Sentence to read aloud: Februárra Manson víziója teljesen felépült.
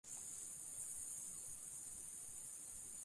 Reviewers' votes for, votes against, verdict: 0, 2, rejected